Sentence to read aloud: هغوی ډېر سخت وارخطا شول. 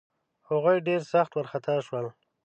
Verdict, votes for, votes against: accepted, 2, 0